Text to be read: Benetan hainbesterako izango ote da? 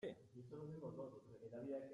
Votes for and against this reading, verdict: 0, 2, rejected